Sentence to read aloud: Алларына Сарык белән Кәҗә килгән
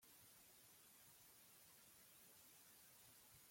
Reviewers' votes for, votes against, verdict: 0, 2, rejected